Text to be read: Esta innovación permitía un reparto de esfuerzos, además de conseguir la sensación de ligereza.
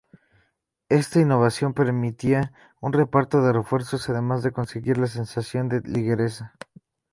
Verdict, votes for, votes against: rejected, 0, 2